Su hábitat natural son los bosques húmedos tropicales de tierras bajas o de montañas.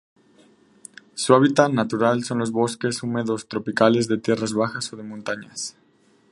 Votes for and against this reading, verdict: 4, 0, accepted